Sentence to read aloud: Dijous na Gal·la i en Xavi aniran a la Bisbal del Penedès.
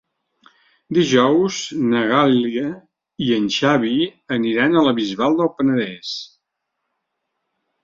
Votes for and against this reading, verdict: 0, 2, rejected